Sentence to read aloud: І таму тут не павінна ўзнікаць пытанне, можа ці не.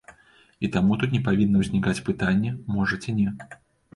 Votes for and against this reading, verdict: 2, 0, accepted